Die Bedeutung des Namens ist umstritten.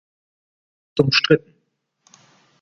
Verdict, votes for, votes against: rejected, 0, 2